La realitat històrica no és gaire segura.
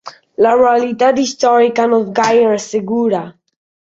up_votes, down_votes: 1, 2